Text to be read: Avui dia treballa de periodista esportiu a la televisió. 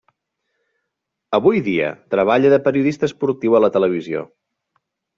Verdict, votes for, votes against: accepted, 3, 0